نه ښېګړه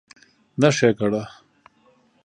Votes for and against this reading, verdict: 2, 0, accepted